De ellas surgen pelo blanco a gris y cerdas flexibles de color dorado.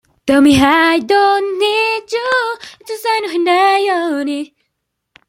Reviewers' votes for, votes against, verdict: 0, 2, rejected